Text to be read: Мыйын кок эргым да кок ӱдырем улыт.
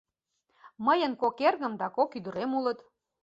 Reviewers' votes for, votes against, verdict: 2, 0, accepted